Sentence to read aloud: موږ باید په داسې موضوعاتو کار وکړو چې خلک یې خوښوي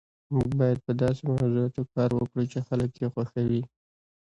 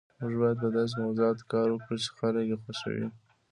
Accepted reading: first